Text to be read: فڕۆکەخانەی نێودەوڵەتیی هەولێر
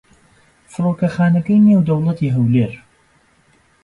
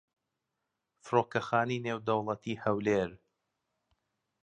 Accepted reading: second